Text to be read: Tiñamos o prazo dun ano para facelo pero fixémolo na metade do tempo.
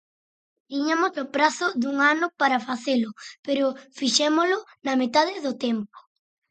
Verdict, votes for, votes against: rejected, 0, 4